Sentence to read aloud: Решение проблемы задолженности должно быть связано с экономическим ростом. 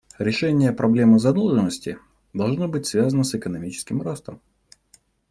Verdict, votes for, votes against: accepted, 2, 0